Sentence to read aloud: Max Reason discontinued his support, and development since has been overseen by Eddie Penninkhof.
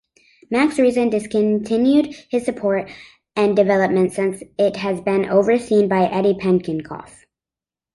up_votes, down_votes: 0, 2